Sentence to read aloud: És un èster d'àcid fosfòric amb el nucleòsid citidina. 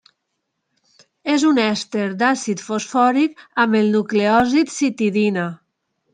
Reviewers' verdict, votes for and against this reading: accepted, 3, 0